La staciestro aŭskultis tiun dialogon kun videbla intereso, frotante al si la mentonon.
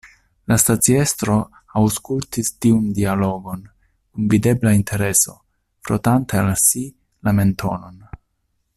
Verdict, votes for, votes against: accepted, 2, 1